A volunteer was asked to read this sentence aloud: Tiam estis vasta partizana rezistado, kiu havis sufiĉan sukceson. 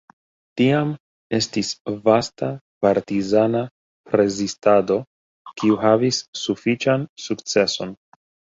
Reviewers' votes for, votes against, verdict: 2, 0, accepted